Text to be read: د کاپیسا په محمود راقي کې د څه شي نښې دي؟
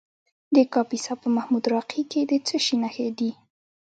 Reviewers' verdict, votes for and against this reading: accepted, 2, 0